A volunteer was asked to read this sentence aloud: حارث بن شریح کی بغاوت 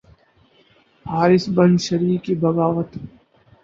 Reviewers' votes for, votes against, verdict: 4, 0, accepted